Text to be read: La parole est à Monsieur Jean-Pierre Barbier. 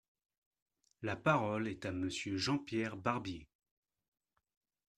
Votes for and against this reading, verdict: 2, 0, accepted